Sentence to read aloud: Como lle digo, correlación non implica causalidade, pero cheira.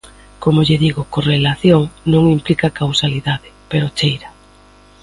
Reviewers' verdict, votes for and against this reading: accepted, 2, 1